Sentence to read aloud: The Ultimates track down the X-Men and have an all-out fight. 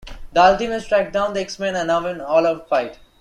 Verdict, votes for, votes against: rejected, 1, 2